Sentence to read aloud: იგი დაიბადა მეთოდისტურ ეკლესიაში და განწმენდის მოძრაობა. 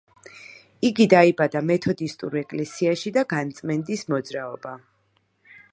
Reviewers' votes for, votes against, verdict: 2, 0, accepted